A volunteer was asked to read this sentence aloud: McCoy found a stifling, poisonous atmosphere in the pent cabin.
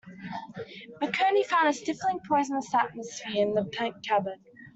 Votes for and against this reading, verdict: 1, 2, rejected